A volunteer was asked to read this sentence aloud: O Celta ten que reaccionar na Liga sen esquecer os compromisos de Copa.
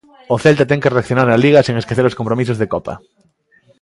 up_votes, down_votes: 2, 0